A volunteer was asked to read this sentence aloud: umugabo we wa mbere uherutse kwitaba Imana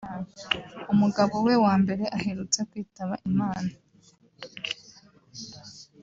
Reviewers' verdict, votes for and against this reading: rejected, 1, 2